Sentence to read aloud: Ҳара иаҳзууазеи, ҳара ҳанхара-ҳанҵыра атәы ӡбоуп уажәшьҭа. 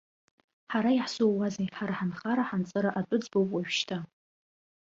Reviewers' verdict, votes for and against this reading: accepted, 2, 0